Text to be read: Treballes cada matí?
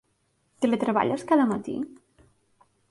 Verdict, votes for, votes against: rejected, 0, 2